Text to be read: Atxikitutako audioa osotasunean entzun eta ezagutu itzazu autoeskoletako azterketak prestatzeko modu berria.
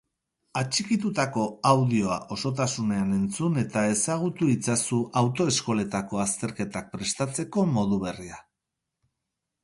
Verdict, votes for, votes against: accepted, 4, 0